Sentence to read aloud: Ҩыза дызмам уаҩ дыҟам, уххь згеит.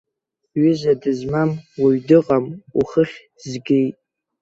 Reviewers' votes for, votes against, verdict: 2, 0, accepted